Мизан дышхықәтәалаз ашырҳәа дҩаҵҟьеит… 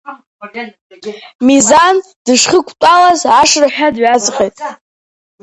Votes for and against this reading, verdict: 2, 0, accepted